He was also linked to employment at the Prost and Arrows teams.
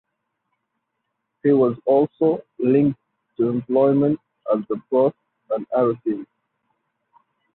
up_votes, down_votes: 0, 4